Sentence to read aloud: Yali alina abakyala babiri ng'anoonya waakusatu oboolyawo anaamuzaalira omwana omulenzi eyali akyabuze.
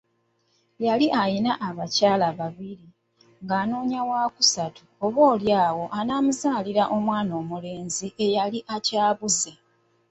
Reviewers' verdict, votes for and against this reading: rejected, 1, 2